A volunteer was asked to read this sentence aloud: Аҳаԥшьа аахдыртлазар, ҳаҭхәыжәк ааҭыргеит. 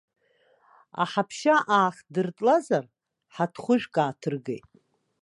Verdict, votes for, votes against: rejected, 1, 2